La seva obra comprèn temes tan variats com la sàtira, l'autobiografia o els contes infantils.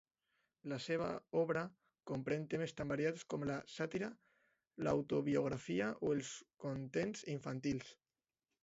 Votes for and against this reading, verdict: 2, 1, accepted